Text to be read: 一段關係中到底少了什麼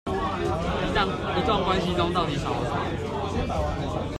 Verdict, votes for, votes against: rejected, 1, 2